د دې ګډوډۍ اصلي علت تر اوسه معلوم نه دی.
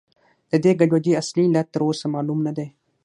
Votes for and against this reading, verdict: 6, 0, accepted